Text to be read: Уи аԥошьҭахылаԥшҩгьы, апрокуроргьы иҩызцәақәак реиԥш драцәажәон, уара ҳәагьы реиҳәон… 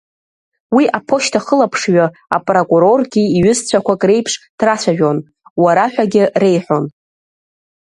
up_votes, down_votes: 2, 0